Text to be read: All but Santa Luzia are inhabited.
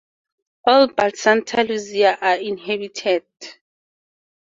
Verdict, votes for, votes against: accepted, 2, 0